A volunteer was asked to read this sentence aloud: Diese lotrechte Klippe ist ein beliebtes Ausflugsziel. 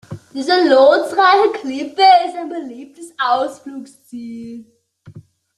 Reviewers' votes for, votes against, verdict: 0, 2, rejected